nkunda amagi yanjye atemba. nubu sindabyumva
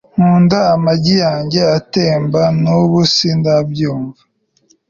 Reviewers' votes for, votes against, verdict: 3, 0, accepted